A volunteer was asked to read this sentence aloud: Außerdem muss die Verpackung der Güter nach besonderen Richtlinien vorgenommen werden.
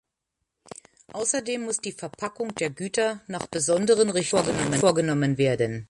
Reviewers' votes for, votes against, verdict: 1, 2, rejected